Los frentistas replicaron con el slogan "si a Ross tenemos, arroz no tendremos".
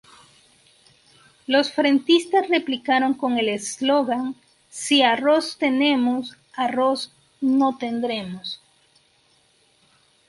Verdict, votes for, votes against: accepted, 2, 0